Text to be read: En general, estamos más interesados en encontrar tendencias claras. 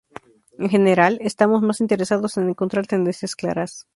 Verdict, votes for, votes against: accepted, 2, 0